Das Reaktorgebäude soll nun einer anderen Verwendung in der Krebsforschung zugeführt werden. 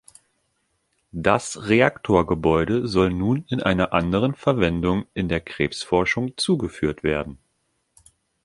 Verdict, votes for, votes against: rejected, 1, 2